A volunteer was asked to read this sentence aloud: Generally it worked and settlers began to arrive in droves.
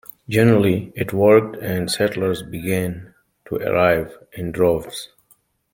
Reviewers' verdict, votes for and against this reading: accepted, 2, 0